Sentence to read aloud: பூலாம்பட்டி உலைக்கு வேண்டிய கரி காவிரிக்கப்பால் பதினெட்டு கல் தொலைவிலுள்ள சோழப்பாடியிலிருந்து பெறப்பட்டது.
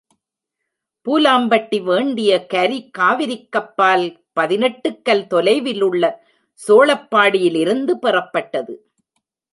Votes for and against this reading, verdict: 0, 2, rejected